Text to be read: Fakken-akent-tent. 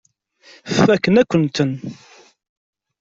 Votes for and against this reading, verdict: 2, 1, accepted